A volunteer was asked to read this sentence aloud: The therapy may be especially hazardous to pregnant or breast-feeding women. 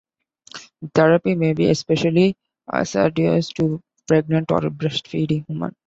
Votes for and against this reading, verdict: 2, 1, accepted